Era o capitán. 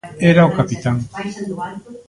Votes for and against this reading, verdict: 1, 2, rejected